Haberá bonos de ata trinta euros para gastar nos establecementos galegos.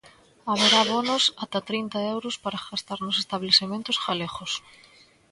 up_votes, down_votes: 1, 2